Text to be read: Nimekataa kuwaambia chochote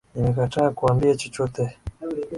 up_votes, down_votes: 2, 1